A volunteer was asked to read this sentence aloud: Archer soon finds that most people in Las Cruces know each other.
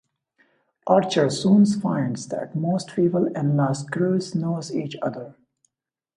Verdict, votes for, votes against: rejected, 0, 2